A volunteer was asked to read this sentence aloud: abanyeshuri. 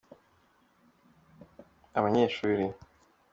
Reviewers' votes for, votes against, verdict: 2, 1, accepted